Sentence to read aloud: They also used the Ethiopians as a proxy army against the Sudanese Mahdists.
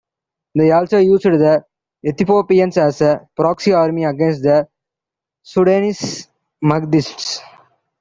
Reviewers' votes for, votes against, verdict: 0, 2, rejected